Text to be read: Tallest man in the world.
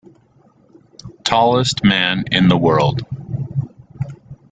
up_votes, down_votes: 2, 0